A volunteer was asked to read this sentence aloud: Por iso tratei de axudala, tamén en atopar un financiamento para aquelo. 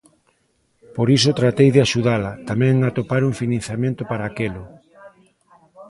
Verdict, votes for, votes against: rejected, 1, 2